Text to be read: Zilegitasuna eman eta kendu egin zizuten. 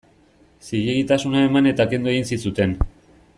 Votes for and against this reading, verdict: 2, 0, accepted